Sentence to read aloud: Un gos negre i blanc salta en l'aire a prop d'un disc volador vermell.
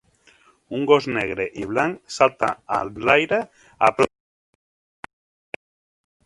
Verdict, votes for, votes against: rejected, 0, 2